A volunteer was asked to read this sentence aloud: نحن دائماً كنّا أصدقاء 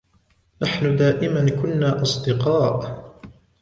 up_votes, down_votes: 0, 2